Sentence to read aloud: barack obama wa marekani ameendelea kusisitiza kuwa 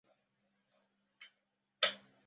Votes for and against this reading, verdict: 0, 2, rejected